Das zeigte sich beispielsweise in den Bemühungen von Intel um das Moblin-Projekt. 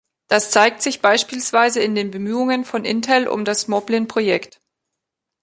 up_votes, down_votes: 3, 4